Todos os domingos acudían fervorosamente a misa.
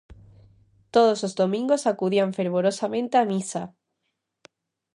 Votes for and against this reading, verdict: 2, 0, accepted